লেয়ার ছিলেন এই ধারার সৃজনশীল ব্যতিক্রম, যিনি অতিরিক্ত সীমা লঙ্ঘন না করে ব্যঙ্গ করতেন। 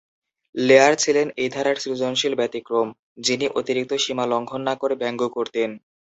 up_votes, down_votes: 2, 1